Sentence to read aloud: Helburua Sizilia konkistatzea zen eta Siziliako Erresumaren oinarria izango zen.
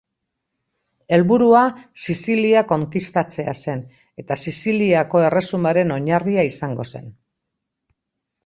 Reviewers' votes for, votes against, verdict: 2, 0, accepted